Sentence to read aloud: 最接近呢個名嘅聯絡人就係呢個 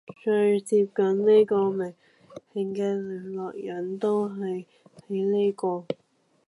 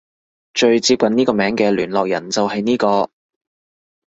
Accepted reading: second